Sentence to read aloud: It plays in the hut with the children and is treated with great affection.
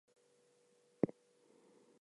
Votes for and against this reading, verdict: 0, 2, rejected